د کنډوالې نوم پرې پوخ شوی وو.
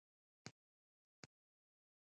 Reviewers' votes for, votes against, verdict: 1, 2, rejected